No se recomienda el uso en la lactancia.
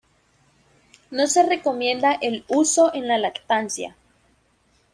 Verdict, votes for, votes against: accepted, 2, 0